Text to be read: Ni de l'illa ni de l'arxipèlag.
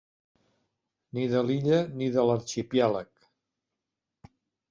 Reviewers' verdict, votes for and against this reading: rejected, 2, 3